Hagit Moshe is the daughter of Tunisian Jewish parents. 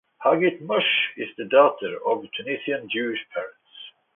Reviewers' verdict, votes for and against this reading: accepted, 2, 0